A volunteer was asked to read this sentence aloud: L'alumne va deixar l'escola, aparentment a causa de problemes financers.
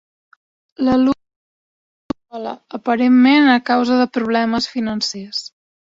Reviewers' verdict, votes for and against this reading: rejected, 0, 2